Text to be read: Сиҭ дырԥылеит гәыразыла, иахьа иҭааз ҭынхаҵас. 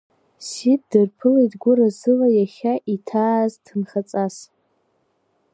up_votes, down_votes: 2, 0